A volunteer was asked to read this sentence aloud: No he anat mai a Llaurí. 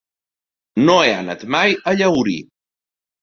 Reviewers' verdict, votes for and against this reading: rejected, 0, 2